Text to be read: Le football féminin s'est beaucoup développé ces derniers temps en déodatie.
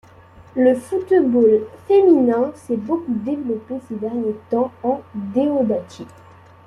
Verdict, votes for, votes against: accepted, 2, 0